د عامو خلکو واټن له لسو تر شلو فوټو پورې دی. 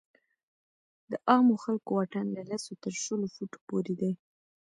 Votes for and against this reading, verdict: 1, 2, rejected